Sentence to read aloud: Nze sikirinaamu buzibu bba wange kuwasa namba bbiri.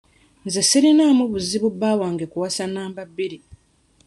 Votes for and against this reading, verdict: 0, 2, rejected